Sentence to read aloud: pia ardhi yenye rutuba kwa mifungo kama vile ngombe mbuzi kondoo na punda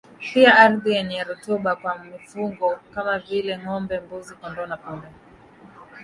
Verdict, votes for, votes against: accepted, 2, 0